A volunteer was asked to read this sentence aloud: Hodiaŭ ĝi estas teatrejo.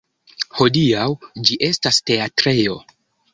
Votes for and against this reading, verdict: 0, 2, rejected